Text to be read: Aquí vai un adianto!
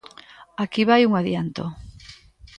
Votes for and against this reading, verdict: 2, 0, accepted